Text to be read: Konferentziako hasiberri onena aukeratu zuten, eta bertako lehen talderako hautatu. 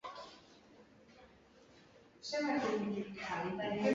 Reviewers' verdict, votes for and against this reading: rejected, 0, 2